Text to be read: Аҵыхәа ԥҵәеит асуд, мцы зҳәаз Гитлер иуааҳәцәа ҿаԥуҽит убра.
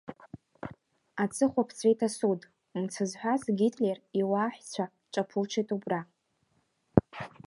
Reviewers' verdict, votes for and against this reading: accepted, 2, 0